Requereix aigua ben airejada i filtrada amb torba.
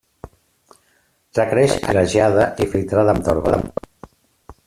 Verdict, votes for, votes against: rejected, 0, 2